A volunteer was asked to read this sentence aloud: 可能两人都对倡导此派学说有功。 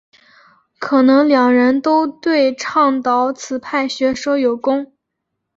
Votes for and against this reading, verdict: 2, 0, accepted